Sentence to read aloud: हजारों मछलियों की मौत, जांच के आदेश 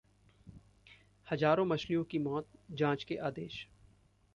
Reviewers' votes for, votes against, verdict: 1, 2, rejected